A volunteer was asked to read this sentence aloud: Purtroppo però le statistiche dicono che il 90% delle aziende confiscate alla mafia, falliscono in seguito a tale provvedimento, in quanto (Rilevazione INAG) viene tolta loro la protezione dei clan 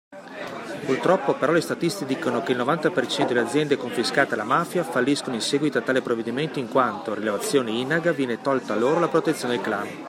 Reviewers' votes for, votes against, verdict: 0, 2, rejected